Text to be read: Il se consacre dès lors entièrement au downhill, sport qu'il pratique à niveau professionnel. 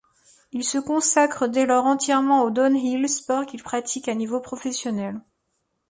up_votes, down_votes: 2, 0